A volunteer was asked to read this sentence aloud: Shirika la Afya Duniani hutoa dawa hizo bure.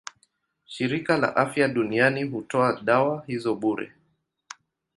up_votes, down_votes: 2, 0